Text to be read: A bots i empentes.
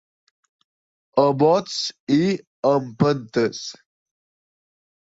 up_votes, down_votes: 3, 0